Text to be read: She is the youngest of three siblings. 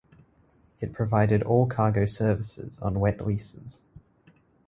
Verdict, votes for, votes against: rejected, 0, 2